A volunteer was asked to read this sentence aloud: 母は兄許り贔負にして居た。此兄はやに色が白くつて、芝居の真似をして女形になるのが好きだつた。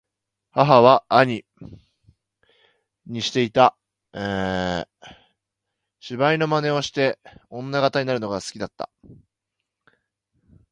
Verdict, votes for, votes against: rejected, 0, 2